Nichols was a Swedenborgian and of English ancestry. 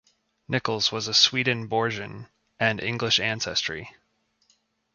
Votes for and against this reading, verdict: 0, 2, rejected